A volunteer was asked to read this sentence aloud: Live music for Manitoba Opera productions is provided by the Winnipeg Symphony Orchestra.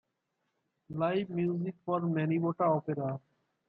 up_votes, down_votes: 0, 2